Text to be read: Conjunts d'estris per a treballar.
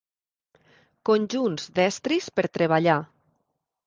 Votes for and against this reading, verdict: 0, 2, rejected